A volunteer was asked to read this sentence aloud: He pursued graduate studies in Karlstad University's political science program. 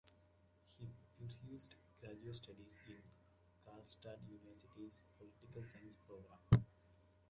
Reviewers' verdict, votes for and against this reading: rejected, 1, 2